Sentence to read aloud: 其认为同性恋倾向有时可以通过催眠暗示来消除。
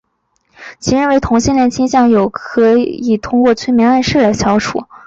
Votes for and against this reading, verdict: 0, 2, rejected